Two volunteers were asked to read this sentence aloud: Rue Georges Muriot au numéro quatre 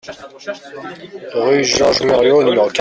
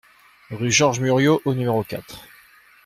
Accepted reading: second